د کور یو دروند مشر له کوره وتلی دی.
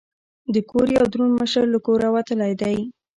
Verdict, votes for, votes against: accepted, 2, 0